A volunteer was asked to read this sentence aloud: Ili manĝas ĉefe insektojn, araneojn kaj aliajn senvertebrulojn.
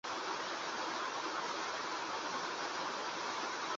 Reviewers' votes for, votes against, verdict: 1, 2, rejected